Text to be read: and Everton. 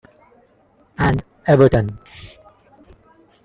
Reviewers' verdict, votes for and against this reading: rejected, 0, 2